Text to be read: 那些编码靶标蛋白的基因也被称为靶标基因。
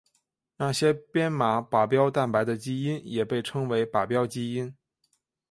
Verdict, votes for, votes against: accepted, 2, 0